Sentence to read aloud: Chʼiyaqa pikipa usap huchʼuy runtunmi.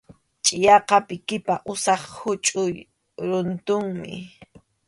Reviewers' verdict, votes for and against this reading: accepted, 2, 0